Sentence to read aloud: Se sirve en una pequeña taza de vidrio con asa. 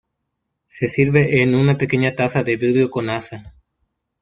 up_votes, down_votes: 0, 2